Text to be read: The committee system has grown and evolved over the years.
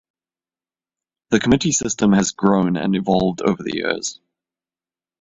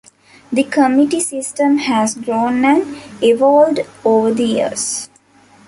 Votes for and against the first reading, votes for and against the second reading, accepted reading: 2, 0, 0, 2, first